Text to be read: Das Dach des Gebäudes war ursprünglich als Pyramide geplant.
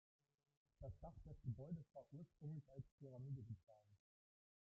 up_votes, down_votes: 1, 2